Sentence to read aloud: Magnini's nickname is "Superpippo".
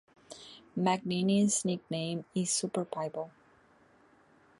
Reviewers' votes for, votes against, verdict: 1, 2, rejected